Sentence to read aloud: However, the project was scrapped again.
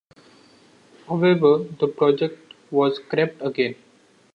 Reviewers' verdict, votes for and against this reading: accepted, 2, 0